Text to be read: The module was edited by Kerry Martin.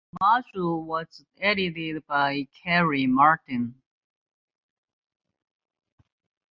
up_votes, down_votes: 1, 2